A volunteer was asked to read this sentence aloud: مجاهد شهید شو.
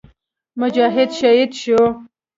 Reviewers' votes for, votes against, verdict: 2, 0, accepted